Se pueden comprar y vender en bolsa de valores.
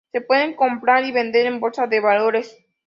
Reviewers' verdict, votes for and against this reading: accepted, 2, 0